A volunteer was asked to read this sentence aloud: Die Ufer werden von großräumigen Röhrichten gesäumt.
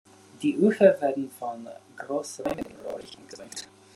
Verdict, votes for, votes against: rejected, 0, 2